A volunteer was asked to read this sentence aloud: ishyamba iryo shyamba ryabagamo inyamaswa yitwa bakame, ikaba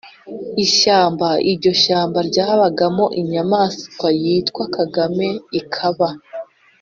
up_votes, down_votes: 0, 2